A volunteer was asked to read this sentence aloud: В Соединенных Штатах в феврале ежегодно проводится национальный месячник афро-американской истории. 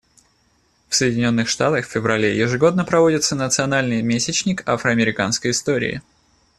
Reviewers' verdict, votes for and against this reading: accepted, 2, 0